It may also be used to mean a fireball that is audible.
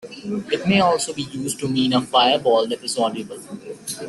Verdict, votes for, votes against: accepted, 2, 1